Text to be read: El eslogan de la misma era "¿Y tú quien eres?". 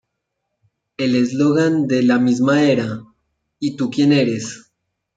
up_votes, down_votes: 0, 2